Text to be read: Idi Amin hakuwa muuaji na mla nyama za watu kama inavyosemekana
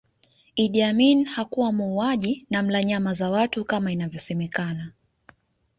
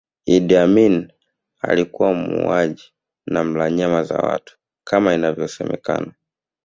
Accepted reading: first